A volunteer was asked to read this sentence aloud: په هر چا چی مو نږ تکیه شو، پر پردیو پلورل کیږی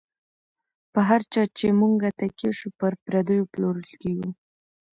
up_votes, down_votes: 1, 2